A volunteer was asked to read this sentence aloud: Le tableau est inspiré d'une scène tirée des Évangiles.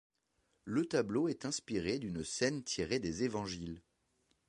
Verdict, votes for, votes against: accepted, 2, 0